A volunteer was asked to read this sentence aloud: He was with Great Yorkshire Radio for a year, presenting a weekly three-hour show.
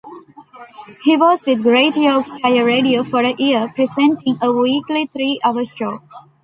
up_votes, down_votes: 1, 2